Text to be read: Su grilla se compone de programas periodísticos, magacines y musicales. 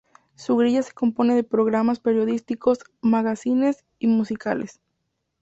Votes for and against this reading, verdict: 2, 0, accepted